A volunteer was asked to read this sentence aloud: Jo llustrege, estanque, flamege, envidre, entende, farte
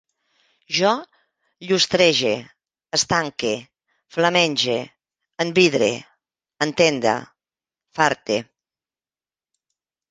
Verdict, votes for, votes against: rejected, 0, 2